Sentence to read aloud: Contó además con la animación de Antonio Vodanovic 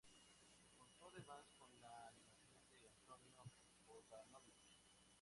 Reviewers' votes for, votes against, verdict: 0, 2, rejected